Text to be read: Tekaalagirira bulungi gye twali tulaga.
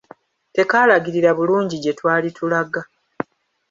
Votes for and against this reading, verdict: 1, 2, rejected